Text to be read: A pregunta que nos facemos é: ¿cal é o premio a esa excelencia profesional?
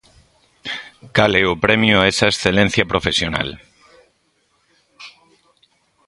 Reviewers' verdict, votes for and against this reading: rejected, 0, 2